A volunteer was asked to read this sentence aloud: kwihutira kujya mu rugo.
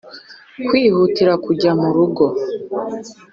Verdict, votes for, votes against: accepted, 4, 0